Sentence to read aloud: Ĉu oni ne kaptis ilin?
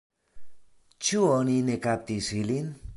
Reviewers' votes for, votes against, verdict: 1, 2, rejected